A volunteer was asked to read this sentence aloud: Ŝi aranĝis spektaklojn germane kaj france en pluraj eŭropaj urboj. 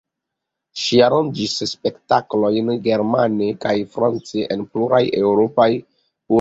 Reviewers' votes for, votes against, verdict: 1, 2, rejected